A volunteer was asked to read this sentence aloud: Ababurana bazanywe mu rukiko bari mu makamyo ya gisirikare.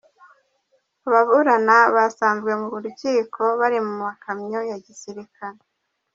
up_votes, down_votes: 1, 2